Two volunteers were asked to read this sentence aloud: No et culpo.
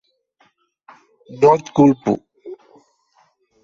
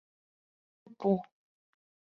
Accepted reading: first